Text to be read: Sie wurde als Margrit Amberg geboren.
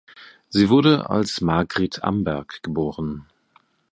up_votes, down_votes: 3, 0